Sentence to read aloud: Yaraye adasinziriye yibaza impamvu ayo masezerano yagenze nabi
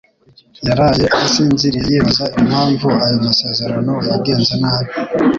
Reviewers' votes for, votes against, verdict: 2, 0, accepted